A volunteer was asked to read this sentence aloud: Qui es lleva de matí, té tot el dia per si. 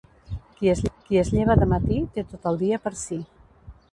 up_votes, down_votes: 0, 2